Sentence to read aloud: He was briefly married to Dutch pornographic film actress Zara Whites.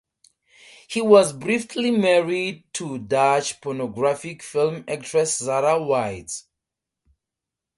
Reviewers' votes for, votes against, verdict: 2, 0, accepted